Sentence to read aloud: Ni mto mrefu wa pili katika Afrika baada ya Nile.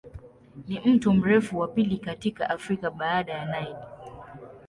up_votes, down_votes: 2, 0